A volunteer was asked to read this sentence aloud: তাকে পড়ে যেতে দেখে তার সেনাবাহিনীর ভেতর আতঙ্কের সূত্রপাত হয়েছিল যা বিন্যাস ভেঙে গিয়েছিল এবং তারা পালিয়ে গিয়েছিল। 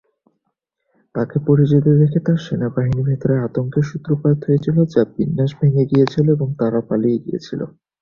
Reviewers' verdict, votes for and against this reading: rejected, 1, 2